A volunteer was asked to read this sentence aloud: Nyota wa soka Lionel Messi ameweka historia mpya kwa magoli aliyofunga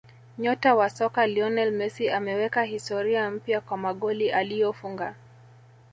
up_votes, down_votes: 0, 2